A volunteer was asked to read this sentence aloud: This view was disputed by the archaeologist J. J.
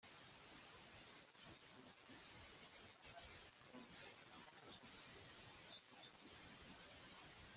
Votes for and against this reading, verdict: 0, 2, rejected